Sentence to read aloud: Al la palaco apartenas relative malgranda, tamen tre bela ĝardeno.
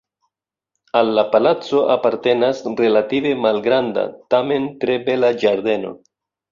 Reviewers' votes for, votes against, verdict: 2, 0, accepted